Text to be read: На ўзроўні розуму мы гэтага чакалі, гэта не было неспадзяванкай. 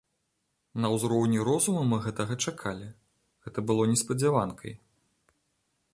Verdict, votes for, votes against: rejected, 1, 3